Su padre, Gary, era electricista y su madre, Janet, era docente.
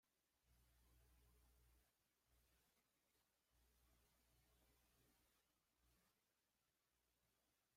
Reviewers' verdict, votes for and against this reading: rejected, 1, 2